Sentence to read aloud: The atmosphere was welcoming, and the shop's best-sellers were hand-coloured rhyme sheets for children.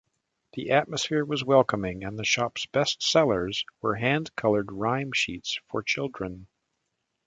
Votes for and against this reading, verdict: 2, 0, accepted